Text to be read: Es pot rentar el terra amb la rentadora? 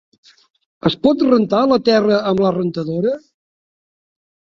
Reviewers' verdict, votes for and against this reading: rejected, 0, 2